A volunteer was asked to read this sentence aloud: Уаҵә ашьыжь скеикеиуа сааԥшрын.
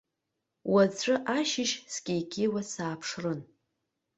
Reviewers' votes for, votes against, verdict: 2, 0, accepted